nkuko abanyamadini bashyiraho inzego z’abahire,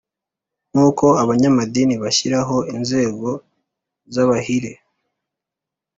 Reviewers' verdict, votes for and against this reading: accepted, 3, 0